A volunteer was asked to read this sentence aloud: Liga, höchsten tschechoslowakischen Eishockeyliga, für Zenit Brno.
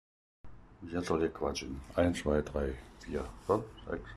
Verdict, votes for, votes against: rejected, 0, 2